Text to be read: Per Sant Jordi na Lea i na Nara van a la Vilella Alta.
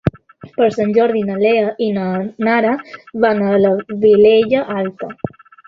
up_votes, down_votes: 2, 1